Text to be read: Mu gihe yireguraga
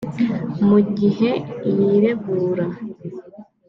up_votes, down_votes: 2, 3